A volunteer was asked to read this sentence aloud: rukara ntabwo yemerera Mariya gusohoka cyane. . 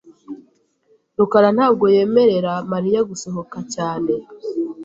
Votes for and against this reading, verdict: 3, 0, accepted